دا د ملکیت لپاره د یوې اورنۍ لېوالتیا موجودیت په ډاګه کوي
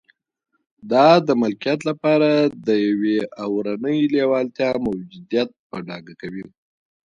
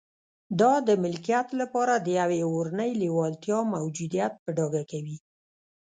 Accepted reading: first